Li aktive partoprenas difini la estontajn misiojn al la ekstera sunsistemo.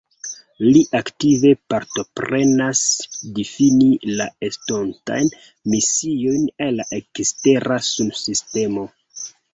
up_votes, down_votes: 2, 1